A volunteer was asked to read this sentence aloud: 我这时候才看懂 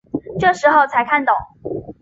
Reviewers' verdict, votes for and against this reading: accepted, 3, 1